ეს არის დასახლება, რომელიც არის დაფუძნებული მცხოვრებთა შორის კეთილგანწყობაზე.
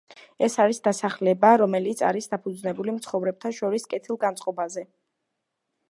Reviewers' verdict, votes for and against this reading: accepted, 2, 0